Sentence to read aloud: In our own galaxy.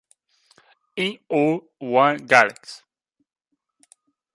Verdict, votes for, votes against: rejected, 0, 2